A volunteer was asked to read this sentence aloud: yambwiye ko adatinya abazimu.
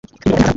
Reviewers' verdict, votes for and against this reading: rejected, 1, 2